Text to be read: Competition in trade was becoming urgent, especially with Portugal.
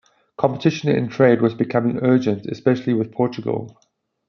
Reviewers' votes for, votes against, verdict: 2, 0, accepted